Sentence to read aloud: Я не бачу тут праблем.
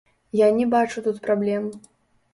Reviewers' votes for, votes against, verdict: 0, 2, rejected